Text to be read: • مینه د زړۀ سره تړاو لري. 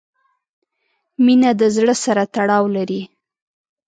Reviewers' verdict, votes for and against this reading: accepted, 2, 0